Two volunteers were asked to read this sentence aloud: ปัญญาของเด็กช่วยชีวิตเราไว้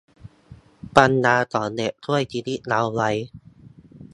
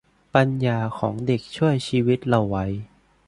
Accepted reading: second